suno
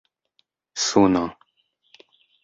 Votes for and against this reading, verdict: 2, 0, accepted